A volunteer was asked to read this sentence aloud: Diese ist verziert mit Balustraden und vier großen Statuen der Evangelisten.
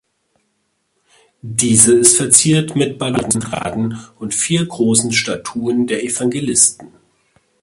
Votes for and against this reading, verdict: 0, 2, rejected